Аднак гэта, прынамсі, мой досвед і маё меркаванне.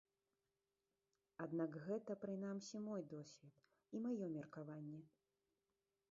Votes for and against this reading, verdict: 0, 2, rejected